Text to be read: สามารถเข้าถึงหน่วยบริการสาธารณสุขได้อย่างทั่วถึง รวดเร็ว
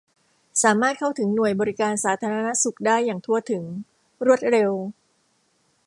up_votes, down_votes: 2, 0